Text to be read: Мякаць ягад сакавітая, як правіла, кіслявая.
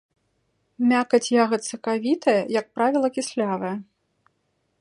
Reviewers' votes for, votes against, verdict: 2, 0, accepted